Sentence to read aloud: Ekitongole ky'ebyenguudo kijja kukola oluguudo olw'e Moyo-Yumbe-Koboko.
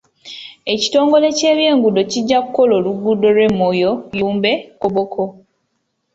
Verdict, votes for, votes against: accepted, 2, 0